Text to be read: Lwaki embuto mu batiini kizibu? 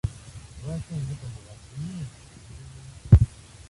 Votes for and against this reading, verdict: 0, 2, rejected